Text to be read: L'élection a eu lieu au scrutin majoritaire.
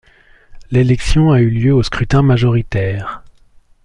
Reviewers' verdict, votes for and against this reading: accepted, 2, 0